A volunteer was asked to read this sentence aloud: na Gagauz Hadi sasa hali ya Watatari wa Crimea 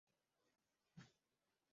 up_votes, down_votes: 0, 2